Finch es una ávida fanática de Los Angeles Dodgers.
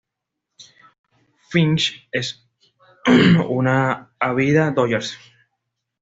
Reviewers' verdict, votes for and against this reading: rejected, 1, 2